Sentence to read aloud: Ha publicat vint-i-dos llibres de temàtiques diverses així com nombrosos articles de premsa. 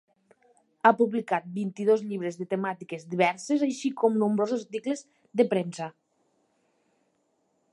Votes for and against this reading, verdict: 2, 0, accepted